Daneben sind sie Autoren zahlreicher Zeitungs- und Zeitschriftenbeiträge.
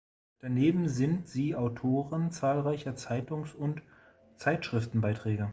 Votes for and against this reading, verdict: 2, 0, accepted